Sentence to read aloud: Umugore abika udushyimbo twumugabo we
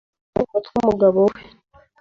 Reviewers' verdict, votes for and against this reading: rejected, 1, 2